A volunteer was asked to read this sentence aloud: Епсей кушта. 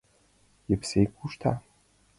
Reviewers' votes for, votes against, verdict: 2, 0, accepted